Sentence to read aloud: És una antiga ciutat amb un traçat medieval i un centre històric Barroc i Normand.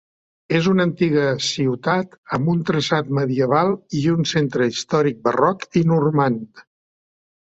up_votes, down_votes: 3, 0